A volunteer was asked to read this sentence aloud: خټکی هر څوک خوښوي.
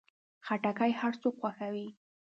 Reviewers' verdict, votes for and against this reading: accepted, 2, 0